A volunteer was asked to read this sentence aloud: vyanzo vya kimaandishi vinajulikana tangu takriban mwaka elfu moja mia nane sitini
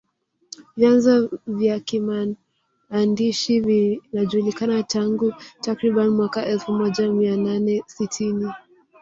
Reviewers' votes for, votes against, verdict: 1, 2, rejected